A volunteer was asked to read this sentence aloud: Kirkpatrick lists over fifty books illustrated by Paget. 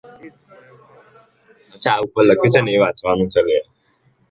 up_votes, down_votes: 0, 2